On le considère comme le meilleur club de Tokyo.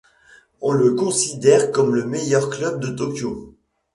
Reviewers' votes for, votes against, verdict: 2, 0, accepted